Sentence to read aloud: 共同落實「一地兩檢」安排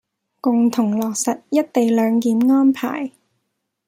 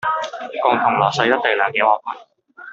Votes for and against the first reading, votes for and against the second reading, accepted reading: 2, 0, 0, 2, first